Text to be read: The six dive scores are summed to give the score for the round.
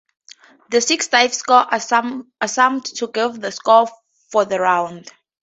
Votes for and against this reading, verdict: 0, 4, rejected